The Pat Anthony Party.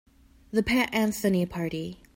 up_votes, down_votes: 3, 0